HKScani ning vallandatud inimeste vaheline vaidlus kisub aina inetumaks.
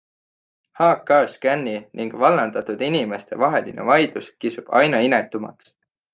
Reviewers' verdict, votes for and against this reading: accepted, 3, 0